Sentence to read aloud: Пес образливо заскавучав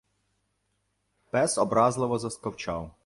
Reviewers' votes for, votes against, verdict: 1, 2, rejected